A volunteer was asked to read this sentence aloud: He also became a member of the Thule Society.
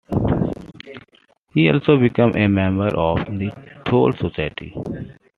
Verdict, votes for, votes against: accepted, 2, 1